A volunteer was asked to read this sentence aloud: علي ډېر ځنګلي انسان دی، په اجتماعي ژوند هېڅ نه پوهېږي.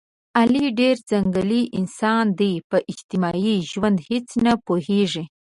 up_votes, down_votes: 2, 0